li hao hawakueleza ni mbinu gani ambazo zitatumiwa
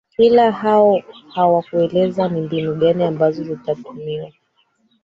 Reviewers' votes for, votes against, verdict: 1, 3, rejected